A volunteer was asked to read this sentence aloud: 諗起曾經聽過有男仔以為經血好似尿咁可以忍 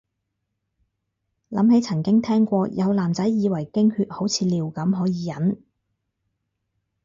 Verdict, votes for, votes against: rejected, 0, 2